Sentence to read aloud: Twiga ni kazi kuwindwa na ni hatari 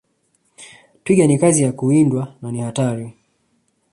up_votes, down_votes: 3, 1